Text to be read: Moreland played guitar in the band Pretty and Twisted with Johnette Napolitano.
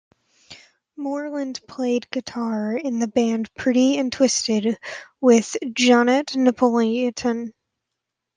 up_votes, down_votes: 0, 2